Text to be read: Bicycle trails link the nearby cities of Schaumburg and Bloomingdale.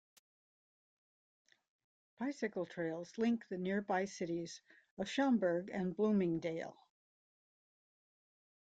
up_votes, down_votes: 2, 0